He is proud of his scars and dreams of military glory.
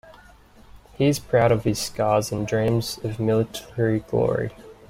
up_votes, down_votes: 2, 1